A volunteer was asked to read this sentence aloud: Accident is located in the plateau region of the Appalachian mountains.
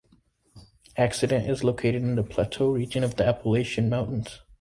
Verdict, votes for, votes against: accepted, 2, 0